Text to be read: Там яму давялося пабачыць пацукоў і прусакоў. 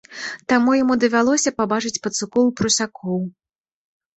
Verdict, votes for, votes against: rejected, 1, 2